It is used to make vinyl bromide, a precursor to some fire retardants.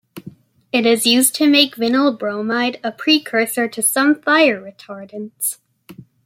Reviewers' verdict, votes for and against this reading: accepted, 2, 1